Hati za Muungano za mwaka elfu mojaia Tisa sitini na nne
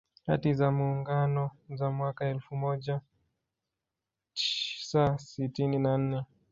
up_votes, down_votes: 1, 2